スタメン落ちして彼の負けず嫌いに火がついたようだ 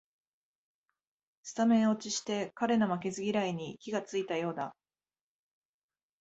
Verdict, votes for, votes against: accepted, 2, 0